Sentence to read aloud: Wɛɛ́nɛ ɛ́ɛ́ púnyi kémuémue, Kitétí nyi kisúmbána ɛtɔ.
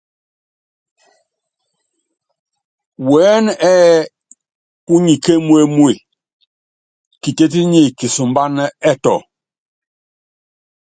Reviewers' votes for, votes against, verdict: 2, 0, accepted